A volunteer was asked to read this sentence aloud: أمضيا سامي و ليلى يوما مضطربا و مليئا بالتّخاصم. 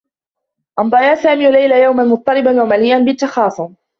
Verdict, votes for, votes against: rejected, 0, 2